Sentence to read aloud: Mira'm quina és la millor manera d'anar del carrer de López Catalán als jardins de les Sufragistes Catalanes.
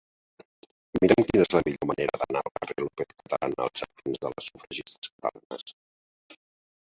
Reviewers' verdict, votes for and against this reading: rejected, 0, 3